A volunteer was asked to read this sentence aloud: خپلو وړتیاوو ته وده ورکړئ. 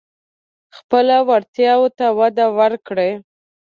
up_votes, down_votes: 2, 0